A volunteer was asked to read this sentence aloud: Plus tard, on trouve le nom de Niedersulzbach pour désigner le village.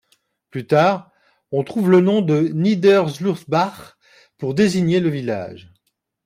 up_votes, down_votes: 1, 2